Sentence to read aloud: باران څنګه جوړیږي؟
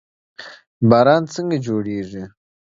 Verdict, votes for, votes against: accepted, 2, 1